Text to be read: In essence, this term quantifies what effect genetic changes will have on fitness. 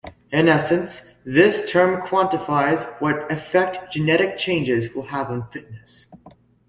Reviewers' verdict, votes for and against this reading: accepted, 2, 0